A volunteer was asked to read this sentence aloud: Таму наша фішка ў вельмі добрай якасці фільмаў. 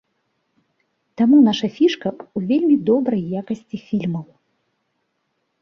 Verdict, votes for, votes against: accepted, 2, 1